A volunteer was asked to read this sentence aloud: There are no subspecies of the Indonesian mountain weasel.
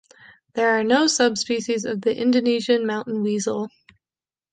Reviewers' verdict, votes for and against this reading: accepted, 2, 0